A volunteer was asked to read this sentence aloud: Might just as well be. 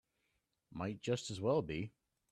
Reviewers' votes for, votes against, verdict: 2, 1, accepted